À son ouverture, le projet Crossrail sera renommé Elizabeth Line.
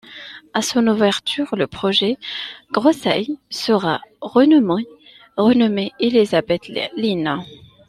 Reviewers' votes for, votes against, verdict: 0, 2, rejected